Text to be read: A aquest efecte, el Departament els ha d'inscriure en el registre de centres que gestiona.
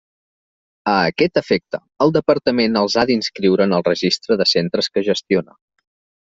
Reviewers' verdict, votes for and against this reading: accepted, 2, 0